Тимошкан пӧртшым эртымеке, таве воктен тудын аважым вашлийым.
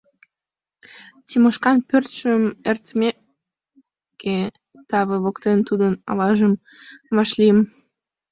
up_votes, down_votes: 0, 2